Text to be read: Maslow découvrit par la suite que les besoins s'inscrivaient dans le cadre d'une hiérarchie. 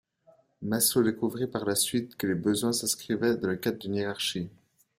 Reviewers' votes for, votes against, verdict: 0, 2, rejected